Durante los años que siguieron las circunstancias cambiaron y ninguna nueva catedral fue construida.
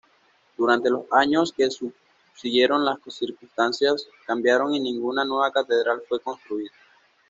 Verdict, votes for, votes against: rejected, 0, 2